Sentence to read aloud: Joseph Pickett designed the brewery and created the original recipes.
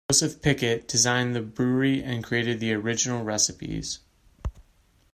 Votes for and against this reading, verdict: 2, 1, accepted